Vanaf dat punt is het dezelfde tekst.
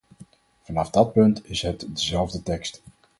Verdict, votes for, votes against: rejected, 2, 2